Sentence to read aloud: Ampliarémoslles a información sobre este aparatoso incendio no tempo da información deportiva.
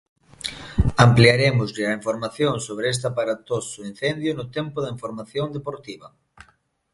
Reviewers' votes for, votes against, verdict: 0, 2, rejected